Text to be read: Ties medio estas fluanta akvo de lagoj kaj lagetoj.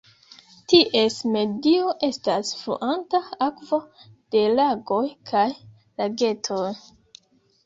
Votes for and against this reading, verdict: 1, 2, rejected